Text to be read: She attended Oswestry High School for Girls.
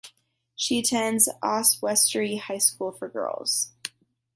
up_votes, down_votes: 1, 2